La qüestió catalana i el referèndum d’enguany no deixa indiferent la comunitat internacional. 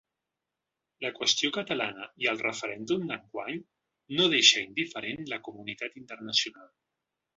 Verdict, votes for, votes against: rejected, 1, 2